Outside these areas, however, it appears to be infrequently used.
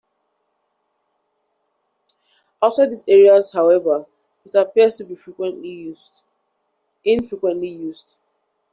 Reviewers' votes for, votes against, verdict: 1, 2, rejected